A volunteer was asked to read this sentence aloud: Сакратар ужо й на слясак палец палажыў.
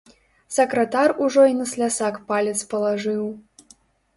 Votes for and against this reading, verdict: 2, 0, accepted